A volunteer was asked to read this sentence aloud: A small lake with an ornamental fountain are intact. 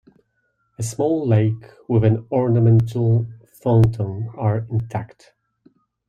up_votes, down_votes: 1, 2